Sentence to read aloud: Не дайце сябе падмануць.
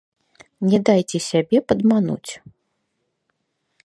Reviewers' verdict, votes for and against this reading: rejected, 0, 3